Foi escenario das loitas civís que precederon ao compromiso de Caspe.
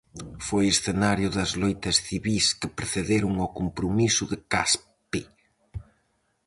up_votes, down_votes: 2, 2